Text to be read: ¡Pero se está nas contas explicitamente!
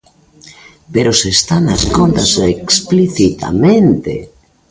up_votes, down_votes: 2, 0